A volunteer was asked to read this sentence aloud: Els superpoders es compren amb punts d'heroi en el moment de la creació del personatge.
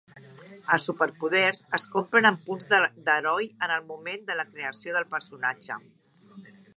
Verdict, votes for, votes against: rejected, 1, 2